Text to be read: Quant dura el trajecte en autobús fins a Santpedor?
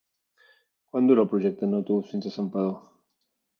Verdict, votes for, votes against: rejected, 1, 2